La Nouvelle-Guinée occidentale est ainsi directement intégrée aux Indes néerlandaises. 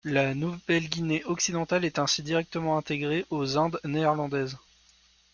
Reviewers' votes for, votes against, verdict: 2, 0, accepted